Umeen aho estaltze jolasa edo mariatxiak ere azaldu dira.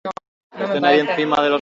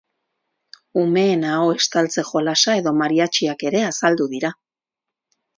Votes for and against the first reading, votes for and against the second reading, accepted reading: 0, 4, 4, 0, second